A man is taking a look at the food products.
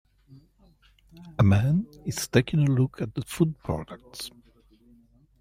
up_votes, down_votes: 2, 0